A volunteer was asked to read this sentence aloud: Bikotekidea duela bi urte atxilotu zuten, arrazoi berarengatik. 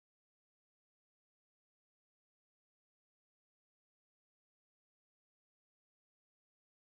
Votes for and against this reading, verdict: 0, 2, rejected